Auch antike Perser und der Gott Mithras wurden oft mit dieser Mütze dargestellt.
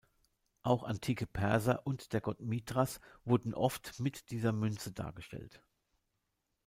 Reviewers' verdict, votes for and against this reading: rejected, 1, 2